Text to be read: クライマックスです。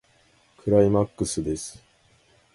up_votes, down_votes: 2, 1